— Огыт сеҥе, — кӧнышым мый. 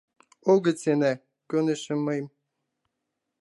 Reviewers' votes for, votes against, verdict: 0, 2, rejected